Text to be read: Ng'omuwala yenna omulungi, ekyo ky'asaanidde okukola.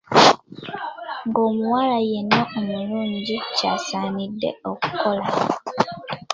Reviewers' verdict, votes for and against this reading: rejected, 0, 2